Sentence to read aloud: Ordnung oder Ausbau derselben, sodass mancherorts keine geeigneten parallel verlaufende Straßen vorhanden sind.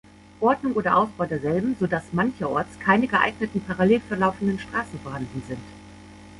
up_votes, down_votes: 1, 2